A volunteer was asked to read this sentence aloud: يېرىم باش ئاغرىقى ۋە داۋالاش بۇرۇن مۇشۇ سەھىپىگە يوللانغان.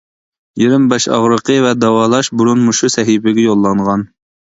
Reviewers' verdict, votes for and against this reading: accepted, 2, 0